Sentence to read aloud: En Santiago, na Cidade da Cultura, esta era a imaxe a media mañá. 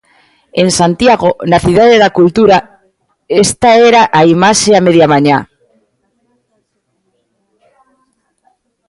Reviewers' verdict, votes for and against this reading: accepted, 2, 0